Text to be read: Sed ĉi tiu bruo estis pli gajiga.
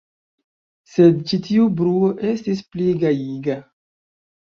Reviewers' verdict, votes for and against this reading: accepted, 2, 1